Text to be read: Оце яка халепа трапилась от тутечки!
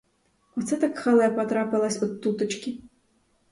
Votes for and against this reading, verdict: 2, 2, rejected